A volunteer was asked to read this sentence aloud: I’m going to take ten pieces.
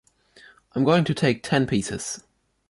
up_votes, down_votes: 2, 0